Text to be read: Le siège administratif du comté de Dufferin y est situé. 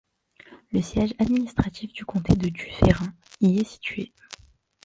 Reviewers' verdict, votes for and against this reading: accepted, 2, 0